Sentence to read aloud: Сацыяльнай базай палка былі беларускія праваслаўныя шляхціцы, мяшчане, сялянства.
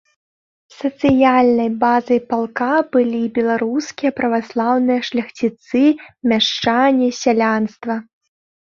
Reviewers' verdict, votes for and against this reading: rejected, 0, 2